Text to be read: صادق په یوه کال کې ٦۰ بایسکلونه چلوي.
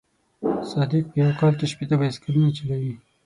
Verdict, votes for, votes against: rejected, 0, 2